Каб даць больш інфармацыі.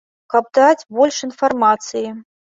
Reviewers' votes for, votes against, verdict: 2, 0, accepted